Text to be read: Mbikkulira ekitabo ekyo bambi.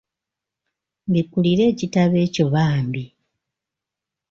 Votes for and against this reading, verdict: 2, 0, accepted